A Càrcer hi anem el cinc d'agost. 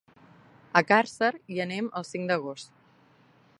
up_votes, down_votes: 4, 0